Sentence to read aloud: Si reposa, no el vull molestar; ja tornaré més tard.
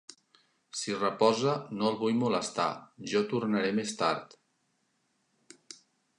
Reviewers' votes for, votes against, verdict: 0, 2, rejected